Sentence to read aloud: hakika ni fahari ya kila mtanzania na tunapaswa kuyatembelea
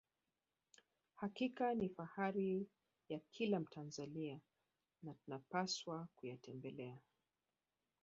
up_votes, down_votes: 1, 2